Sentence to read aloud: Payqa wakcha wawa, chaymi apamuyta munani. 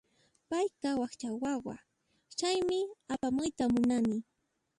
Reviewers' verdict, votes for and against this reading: rejected, 1, 2